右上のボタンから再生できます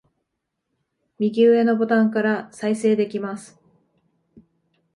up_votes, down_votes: 2, 0